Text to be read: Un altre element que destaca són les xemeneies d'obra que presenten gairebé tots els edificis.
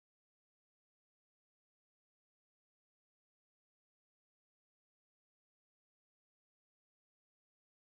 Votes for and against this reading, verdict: 0, 2, rejected